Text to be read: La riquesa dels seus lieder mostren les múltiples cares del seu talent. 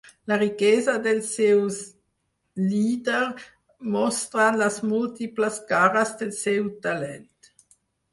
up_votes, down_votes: 0, 4